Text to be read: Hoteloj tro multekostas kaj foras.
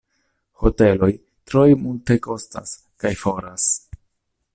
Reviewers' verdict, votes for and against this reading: rejected, 1, 2